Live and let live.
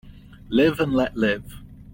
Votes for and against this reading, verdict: 2, 0, accepted